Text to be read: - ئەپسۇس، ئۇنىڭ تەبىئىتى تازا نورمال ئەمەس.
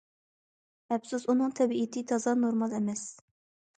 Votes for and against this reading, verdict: 2, 0, accepted